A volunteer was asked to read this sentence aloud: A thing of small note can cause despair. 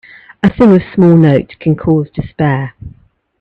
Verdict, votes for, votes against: accepted, 2, 1